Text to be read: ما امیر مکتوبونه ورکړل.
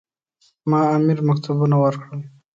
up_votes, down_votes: 2, 0